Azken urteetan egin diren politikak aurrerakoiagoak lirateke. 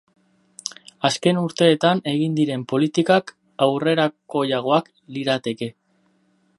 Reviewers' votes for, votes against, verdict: 4, 0, accepted